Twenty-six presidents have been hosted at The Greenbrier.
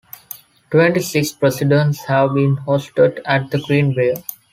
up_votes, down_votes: 3, 2